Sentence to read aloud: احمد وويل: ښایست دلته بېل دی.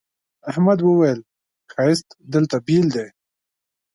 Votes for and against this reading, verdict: 2, 0, accepted